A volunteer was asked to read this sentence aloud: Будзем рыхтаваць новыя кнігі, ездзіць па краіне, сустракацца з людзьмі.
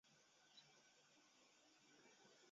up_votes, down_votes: 0, 2